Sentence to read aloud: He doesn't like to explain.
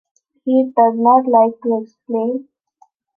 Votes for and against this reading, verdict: 0, 2, rejected